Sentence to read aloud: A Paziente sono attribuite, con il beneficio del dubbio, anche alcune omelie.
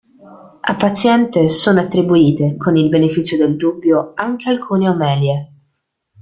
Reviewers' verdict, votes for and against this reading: rejected, 0, 2